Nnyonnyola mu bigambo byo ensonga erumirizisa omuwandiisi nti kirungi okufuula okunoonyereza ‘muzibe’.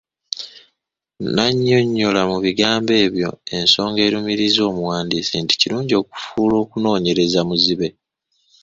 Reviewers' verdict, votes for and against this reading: rejected, 0, 2